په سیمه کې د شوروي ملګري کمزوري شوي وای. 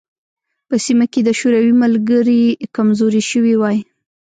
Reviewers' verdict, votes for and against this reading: rejected, 1, 2